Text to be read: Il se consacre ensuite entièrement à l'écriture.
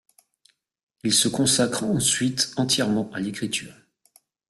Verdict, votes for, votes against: rejected, 1, 2